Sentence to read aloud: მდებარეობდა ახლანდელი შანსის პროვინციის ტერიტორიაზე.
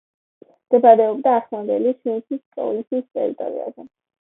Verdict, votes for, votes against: accepted, 2, 0